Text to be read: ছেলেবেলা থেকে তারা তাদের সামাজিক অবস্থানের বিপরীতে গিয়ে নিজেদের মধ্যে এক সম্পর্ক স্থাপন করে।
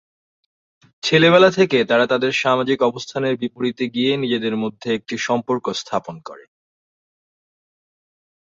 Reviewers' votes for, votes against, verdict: 2, 0, accepted